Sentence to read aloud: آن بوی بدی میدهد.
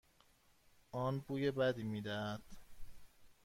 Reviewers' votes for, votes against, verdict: 2, 0, accepted